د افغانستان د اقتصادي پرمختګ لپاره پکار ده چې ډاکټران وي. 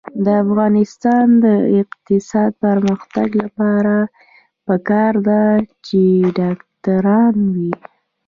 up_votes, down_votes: 1, 2